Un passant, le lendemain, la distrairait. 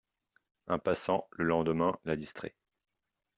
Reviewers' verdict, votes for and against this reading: rejected, 0, 2